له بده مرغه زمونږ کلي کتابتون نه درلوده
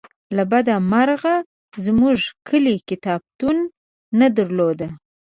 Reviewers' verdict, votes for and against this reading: accepted, 2, 0